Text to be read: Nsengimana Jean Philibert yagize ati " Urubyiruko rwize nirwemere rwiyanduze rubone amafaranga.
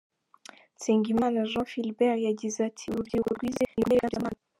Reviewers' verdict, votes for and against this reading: rejected, 0, 2